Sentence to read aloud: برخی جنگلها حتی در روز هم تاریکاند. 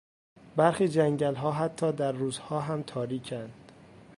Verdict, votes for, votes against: rejected, 0, 2